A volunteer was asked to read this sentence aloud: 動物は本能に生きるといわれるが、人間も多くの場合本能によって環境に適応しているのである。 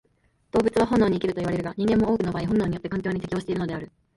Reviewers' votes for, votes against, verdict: 1, 2, rejected